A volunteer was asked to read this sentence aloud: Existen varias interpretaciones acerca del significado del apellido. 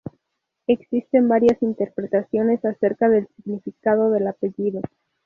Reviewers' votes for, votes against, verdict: 2, 0, accepted